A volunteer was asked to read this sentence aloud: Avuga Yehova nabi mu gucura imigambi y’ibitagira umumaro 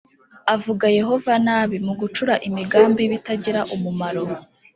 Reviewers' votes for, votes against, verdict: 2, 0, accepted